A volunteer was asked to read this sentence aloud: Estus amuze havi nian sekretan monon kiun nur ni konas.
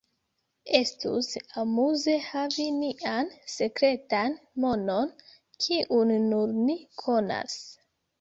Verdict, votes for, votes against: accepted, 3, 0